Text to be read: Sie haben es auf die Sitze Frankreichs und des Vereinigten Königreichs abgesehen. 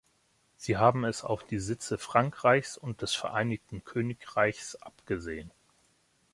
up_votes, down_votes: 3, 0